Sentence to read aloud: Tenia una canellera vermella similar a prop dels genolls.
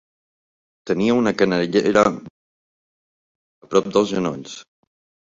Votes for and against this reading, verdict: 1, 4, rejected